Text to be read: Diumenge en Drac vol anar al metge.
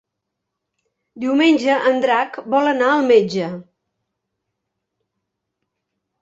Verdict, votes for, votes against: accepted, 3, 0